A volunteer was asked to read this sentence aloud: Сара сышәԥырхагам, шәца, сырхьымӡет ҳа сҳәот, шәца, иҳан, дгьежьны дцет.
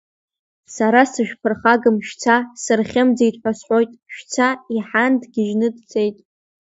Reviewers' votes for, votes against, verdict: 2, 0, accepted